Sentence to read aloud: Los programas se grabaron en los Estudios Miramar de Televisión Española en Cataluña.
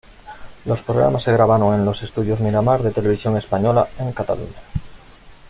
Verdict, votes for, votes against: accepted, 2, 0